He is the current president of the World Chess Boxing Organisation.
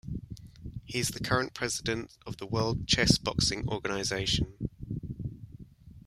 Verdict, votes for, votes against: accepted, 2, 1